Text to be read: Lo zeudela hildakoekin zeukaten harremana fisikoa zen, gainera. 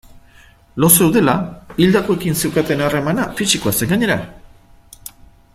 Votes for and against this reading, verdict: 2, 0, accepted